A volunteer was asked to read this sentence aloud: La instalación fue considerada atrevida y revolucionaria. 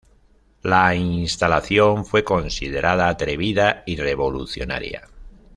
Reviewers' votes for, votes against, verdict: 2, 0, accepted